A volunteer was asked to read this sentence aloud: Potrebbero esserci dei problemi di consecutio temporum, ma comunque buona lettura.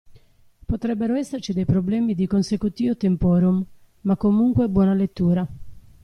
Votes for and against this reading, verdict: 1, 2, rejected